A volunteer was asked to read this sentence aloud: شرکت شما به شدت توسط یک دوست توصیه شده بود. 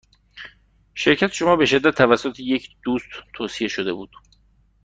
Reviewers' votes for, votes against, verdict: 2, 0, accepted